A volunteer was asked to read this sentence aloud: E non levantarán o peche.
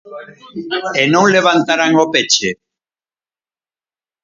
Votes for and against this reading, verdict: 2, 4, rejected